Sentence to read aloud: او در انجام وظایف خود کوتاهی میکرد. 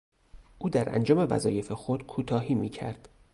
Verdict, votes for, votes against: rejected, 0, 2